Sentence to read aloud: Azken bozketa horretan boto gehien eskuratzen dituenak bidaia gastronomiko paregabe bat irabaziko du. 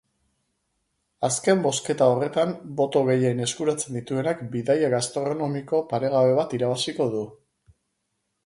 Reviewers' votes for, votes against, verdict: 2, 0, accepted